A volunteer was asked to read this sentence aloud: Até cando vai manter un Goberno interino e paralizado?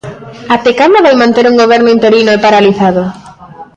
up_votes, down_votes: 1, 2